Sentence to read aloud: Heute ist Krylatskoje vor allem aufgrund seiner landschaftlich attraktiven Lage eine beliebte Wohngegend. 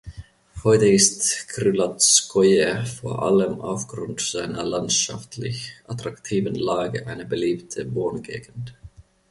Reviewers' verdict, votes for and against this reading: accepted, 2, 0